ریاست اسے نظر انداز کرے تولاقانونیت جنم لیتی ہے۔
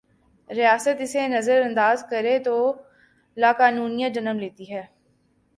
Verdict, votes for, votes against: accepted, 2, 0